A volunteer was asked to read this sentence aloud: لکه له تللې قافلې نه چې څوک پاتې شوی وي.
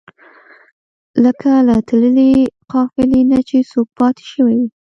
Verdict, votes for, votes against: rejected, 0, 2